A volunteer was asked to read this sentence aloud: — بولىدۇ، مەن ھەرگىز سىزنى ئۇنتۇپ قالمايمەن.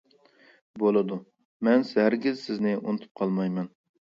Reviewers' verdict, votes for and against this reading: rejected, 1, 2